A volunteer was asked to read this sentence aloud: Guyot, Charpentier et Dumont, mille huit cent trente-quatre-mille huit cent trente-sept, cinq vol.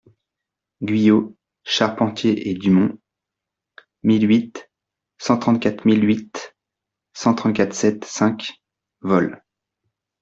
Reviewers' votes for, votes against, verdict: 0, 2, rejected